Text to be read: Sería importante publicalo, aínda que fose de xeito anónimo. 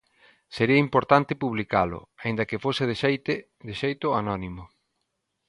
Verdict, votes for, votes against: rejected, 0, 3